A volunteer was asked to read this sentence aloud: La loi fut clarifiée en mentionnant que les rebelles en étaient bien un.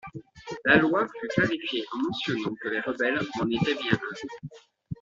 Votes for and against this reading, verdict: 2, 1, accepted